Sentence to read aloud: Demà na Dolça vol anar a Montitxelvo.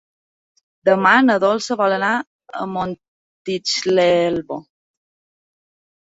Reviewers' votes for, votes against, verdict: 0, 2, rejected